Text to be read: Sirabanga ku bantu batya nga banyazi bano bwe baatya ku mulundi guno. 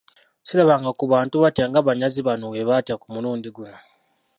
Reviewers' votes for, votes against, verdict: 1, 2, rejected